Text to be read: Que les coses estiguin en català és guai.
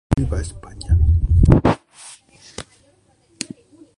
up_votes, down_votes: 0, 2